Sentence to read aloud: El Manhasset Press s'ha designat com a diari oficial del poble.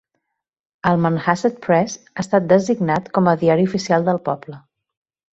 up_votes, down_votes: 1, 2